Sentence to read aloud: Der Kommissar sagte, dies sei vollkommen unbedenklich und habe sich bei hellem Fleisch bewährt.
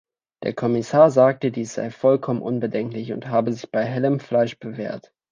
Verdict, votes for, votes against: accepted, 2, 0